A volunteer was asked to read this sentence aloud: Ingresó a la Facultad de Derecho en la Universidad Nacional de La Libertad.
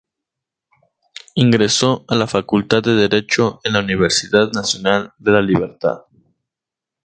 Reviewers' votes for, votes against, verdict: 2, 0, accepted